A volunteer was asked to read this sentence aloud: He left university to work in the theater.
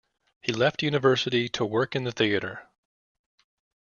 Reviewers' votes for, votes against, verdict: 2, 0, accepted